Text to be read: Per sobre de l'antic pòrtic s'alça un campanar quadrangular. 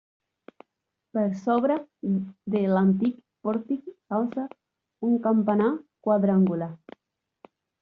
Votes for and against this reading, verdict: 0, 2, rejected